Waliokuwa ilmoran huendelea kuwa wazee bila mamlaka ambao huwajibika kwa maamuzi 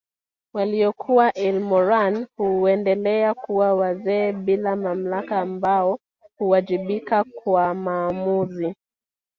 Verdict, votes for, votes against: rejected, 1, 2